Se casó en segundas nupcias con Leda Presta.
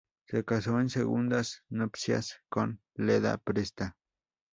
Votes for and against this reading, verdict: 2, 0, accepted